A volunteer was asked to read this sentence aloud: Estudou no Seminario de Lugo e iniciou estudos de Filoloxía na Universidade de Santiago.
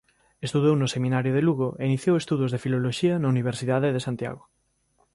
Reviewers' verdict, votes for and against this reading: accepted, 2, 0